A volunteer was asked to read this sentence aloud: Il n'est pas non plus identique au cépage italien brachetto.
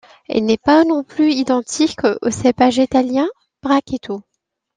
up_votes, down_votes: 2, 1